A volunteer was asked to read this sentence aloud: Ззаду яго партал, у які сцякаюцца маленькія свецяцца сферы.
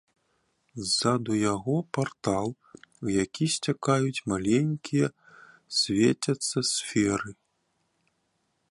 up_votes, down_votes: 0, 2